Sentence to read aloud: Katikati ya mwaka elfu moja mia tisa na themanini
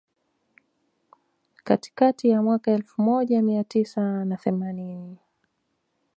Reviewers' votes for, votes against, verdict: 2, 0, accepted